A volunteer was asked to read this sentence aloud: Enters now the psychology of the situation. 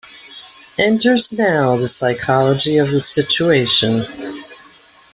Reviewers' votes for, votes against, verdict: 2, 1, accepted